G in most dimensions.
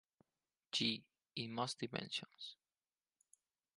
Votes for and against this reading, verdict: 4, 0, accepted